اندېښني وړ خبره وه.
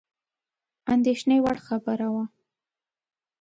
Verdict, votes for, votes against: accepted, 2, 0